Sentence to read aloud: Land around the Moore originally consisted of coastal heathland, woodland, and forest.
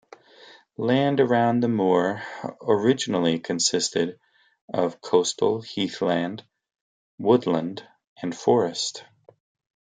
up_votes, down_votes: 2, 0